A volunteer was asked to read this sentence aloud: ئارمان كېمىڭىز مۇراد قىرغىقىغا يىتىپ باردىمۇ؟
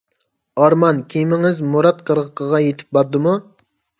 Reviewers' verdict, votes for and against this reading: accepted, 2, 0